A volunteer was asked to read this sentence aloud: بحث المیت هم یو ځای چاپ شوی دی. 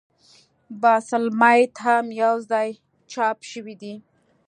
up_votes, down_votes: 2, 0